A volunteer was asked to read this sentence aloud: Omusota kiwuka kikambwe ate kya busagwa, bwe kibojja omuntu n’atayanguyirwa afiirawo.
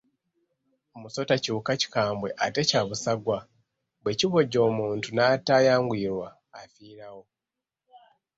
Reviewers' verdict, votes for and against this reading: accepted, 2, 0